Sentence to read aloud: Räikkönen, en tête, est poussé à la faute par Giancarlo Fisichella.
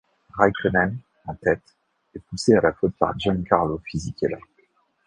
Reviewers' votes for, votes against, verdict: 2, 0, accepted